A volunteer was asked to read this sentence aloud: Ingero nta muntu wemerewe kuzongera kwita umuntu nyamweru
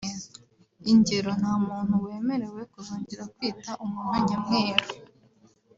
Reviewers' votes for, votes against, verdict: 2, 1, accepted